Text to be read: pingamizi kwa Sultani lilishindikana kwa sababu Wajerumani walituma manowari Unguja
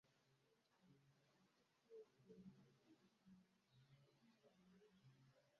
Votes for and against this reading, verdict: 0, 2, rejected